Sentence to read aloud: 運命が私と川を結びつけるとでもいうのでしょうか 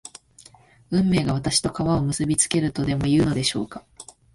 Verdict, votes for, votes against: accepted, 2, 0